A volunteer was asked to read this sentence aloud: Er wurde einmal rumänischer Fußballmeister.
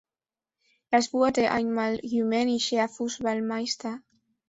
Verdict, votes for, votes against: rejected, 0, 2